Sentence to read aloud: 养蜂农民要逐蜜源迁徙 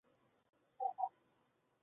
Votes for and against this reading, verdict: 1, 4, rejected